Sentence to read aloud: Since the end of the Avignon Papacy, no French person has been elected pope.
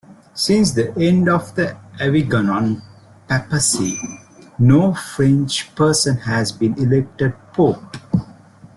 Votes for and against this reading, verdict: 0, 2, rejected